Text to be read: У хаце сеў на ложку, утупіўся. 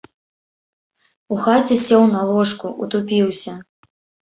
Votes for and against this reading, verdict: 2, 0, accepted